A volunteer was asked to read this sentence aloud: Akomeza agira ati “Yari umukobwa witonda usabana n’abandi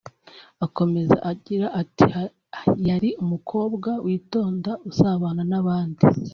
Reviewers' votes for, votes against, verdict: 1, 2, rejected